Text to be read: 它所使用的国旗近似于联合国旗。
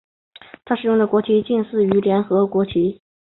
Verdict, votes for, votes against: accepted, 5, 0